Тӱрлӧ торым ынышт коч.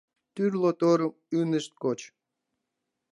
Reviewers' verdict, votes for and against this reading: accepted, 3, 1